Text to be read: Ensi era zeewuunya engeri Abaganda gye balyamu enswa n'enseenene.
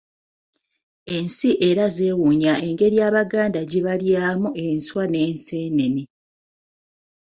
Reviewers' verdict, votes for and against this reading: accepted, 2, 0